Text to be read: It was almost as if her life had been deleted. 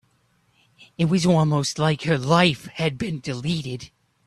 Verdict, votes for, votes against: rejected, 0, 2